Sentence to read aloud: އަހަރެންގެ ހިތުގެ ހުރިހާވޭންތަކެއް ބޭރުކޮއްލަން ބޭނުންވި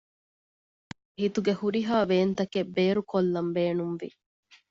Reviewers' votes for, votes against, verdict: 0, 2, rejected